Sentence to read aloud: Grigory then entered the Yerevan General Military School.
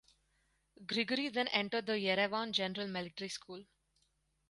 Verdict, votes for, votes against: accepted, 4, 0